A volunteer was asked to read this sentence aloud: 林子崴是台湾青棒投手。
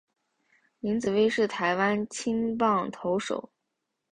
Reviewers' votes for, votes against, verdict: 2, 0, accepted